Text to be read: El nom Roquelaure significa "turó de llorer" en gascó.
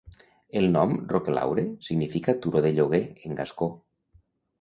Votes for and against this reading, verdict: 1, 2, rejected